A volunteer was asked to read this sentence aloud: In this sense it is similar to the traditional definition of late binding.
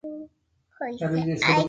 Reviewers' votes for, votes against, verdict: 0, 2, rejected